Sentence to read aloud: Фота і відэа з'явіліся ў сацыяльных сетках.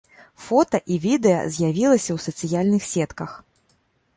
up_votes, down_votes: 1, 2